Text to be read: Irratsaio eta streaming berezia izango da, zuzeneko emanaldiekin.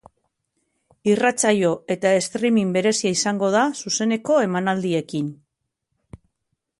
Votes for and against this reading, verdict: 3, 1, accepted